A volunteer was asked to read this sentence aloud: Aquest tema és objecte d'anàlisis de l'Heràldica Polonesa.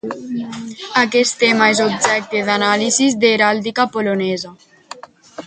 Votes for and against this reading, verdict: 0, 2, rejected